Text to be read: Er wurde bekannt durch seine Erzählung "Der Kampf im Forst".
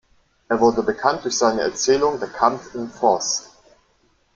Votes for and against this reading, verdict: 2, 0, accepted